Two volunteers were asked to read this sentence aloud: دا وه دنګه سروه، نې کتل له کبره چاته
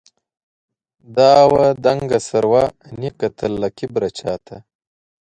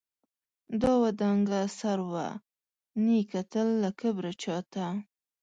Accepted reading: first